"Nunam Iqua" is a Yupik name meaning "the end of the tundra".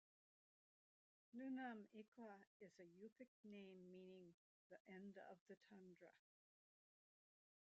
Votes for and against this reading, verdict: 0, 2, rejected